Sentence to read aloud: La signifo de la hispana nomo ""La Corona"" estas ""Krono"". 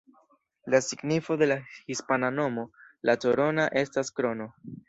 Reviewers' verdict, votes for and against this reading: accepted, 2, 0